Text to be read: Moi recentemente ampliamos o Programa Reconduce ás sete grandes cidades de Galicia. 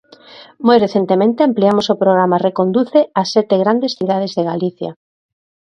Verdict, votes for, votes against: accepted, 2, 0